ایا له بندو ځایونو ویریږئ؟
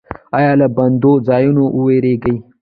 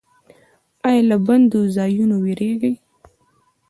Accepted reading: second